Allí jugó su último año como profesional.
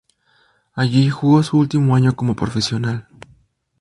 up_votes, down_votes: 0, 2